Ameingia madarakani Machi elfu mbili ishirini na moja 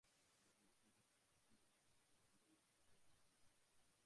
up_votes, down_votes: 0, 2